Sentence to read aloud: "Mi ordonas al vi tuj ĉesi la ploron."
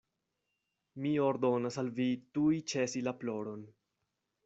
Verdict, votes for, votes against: accepted, 2, 0